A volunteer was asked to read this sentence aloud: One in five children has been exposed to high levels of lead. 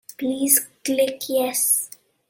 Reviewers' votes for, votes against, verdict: 0, 2, rejected